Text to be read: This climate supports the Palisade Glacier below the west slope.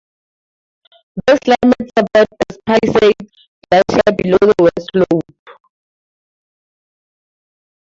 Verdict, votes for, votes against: rejected, 0, 4